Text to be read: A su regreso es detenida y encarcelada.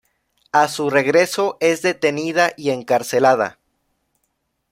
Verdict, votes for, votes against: accepted, 2, 0